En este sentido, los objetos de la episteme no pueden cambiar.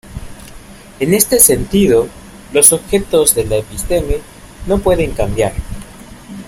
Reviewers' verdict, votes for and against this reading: accepted, 2, 0